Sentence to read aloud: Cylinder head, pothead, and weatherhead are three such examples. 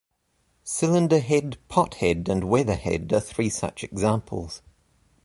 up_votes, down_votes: 2, 0